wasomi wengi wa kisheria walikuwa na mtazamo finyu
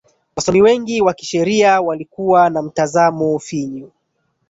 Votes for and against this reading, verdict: 1, 2, rejected